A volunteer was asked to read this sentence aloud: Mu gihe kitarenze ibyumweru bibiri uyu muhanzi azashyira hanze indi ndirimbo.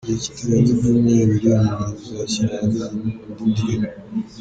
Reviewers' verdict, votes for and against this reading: rejected, 1, 2